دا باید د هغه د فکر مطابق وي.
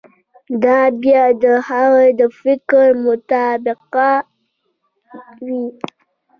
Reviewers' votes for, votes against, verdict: 0, 2, rejected